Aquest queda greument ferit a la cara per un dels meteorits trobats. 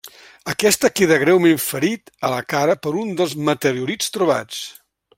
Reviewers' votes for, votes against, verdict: 1, 2, rejected